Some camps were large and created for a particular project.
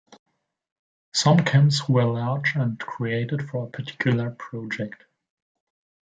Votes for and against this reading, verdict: 2, 0, accepted